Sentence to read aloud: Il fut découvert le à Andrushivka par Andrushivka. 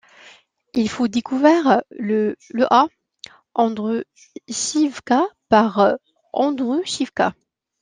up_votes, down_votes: 1, 2